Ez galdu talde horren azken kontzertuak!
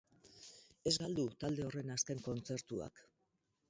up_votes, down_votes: 2, 4